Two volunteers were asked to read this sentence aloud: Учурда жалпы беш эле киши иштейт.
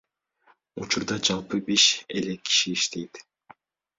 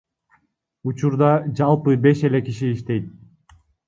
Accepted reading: first